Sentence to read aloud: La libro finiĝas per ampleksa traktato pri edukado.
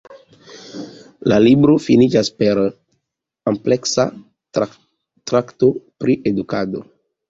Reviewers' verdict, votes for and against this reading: rejected, 1, 2